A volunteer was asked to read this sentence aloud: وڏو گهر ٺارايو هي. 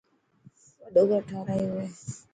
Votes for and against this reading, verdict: 2, 0, accepted